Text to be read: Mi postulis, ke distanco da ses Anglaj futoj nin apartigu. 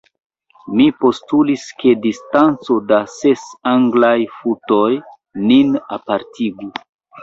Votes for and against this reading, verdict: 0, 2, rejected